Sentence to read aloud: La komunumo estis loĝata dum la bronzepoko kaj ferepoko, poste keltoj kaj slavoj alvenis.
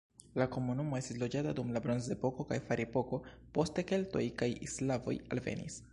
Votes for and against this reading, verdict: 2, 0, accepted